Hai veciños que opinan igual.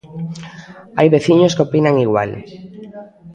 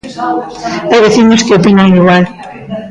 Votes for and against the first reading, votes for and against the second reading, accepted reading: 1, 2, 2, 0, second